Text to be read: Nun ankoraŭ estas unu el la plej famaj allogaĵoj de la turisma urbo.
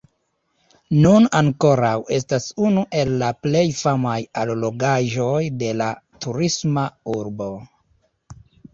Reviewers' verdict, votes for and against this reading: rejected, 1, 2